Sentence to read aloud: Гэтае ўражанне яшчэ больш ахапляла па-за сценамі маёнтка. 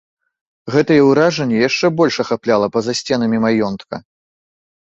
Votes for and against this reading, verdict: 2, 0, accepted